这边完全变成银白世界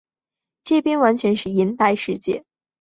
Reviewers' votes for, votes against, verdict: 3, 1, accepted